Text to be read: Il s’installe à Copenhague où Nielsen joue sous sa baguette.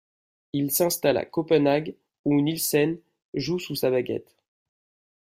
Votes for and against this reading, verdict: 2, 0, accepted